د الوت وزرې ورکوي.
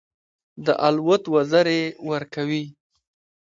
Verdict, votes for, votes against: rejected, 1, 2